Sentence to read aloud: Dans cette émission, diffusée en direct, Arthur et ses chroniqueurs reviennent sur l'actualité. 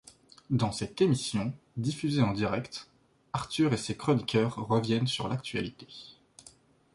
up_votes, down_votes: 2, 0